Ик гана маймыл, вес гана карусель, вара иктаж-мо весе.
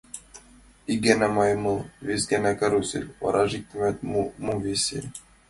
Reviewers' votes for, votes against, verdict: 2, 1, accepted